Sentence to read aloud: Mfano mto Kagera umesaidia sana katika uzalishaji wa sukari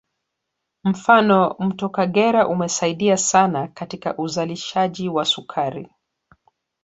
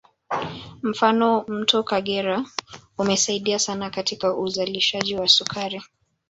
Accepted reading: first